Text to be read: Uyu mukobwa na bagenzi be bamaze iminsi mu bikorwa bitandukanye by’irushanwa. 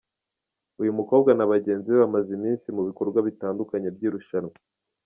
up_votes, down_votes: 2, 1